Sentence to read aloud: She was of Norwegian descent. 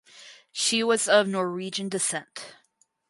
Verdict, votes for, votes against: accepted, 4, 0